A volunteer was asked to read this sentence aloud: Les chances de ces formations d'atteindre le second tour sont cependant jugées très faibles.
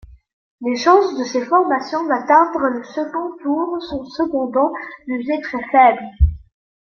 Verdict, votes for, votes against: accepted, 2, 0